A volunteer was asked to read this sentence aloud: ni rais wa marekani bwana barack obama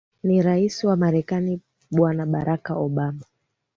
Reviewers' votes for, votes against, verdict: 2, 1, accepted